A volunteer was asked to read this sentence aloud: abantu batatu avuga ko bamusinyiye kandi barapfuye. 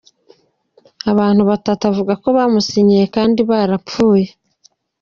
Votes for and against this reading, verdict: 2, 0, accepted